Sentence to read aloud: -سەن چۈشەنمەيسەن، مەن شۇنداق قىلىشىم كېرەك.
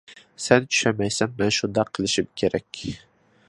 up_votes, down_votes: 2, 0